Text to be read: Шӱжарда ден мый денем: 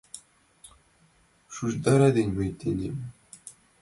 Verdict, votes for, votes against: rejected, 0, 2